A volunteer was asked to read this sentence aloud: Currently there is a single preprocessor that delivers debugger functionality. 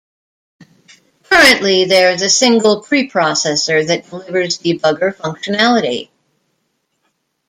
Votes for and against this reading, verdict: 0, 2, rejected